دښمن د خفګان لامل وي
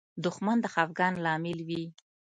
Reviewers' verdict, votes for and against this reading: rejected, 1, 2